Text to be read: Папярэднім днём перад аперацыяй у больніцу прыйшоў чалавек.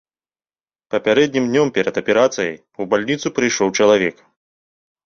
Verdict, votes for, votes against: rejected, 0, 2